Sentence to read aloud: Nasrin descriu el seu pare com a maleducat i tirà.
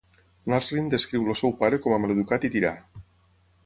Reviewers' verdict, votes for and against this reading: accepted, 6, 0